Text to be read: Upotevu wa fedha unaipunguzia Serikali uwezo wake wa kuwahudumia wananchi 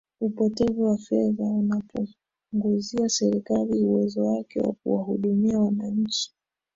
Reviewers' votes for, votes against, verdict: 0, 2, rejected